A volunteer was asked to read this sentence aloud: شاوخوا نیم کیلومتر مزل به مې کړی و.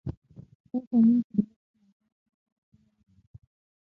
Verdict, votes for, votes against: rejected, 3, 6